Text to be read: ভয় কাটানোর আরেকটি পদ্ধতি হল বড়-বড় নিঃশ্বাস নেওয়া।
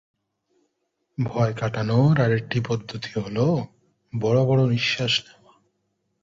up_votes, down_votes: 2, 0